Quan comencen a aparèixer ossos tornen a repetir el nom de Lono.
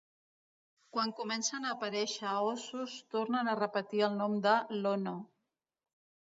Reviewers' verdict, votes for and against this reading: accepted, 2, 0